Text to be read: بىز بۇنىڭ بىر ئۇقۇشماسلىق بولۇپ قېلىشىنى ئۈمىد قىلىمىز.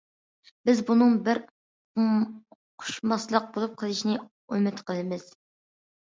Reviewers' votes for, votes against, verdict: 0, 2, rejected